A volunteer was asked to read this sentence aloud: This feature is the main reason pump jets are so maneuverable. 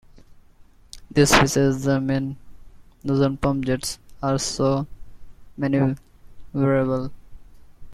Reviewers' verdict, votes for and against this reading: rejected, 0, 2